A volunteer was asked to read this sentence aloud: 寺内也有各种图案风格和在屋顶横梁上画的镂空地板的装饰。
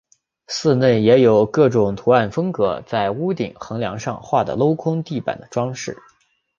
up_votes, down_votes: 3, 0